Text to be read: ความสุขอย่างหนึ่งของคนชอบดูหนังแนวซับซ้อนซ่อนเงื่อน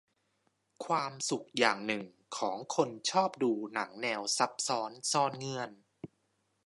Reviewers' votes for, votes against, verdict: 2, 0, accepted